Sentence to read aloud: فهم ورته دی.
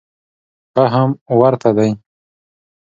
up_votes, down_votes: 2, 0